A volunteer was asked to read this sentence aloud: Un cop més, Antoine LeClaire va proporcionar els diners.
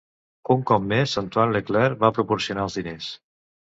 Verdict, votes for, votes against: accepted, 2, 0